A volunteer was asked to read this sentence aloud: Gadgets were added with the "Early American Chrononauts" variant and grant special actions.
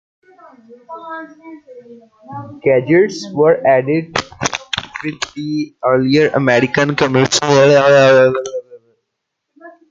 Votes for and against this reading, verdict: 0, 2, rejected